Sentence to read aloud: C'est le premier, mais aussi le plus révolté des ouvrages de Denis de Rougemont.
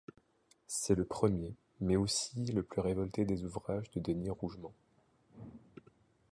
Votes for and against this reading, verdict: 0, 2, rejected